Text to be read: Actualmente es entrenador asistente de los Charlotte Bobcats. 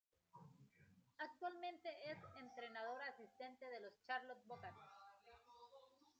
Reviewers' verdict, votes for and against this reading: rejected, 1, 2